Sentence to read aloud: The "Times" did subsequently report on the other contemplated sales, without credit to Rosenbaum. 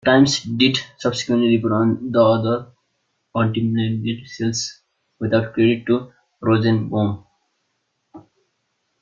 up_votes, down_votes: 0, 2